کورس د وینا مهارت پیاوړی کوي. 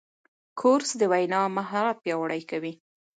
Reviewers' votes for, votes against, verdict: 2, 0, accepted